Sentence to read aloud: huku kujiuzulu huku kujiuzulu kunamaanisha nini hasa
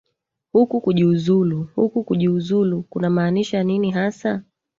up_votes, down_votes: 1, 2